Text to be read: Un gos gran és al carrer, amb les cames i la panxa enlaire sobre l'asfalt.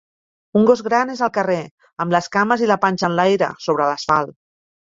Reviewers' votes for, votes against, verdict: 2, 0, accepted